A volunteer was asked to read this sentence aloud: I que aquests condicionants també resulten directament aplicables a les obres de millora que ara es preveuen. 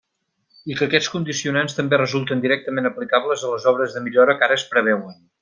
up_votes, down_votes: 3, 0